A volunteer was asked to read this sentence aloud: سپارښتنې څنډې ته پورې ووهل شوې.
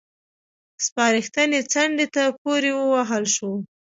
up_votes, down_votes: 2, 1